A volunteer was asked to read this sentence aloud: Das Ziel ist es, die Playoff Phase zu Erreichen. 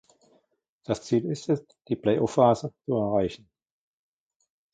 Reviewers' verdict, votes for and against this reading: rejected, 1, 2